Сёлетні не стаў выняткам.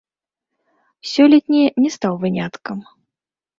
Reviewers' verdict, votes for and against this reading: rejected, 0, 2